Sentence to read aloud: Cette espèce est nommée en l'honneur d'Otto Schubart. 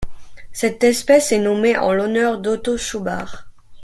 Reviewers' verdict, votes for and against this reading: rejected, 1, 2